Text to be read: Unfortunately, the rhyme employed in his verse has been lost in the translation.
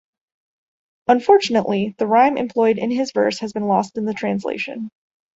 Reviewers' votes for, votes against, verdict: 2, 0, accepted